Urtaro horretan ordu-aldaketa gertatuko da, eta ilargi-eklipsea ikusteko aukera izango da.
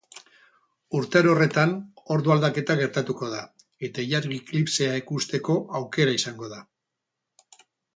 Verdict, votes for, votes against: accepted, 2, 0